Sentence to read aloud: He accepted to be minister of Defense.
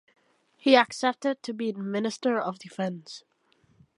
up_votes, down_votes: 2, 0